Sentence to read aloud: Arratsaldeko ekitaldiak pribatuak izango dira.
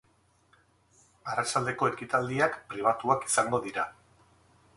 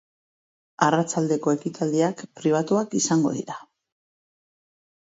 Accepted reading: second